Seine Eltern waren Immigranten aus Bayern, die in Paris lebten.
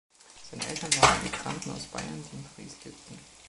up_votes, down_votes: 1, 2